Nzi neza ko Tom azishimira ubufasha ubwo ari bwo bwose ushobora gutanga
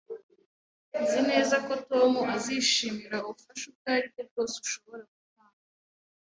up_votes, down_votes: 0, 2